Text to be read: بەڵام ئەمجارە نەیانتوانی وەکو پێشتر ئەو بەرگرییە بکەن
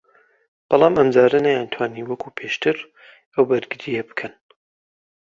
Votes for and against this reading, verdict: 2, 0, accepted